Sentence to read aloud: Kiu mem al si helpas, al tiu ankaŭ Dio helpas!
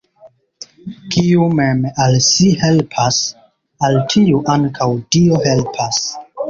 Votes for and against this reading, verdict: 0, 2, rejected